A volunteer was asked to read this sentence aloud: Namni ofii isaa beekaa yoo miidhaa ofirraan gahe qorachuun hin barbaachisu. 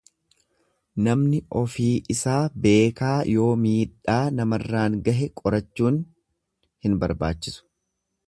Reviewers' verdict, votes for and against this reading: rejected, 1, 2